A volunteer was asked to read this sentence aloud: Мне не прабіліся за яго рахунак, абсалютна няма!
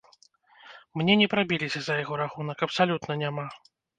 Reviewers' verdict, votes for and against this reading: accepted, 2, 0